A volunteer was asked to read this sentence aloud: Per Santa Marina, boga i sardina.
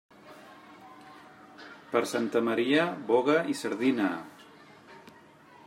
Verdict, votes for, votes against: rejected, 0, 2